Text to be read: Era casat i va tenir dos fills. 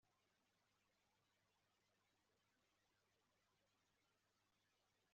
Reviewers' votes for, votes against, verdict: 0, 2, rejected